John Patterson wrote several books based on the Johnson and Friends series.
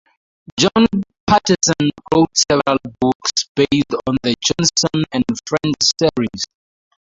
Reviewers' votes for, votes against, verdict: 2, 2, rejected